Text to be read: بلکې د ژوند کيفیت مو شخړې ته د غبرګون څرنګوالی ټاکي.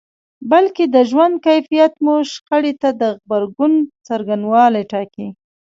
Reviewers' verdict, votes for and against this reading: rejected, 1, 2